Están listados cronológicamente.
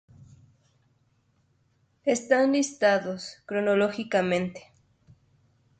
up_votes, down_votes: 2, 0